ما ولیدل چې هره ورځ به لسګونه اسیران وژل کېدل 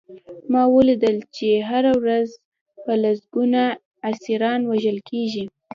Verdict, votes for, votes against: accepted, 2, 0